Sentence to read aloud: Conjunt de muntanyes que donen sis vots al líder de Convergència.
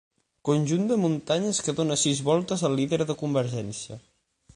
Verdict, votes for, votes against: rejected, 6, 9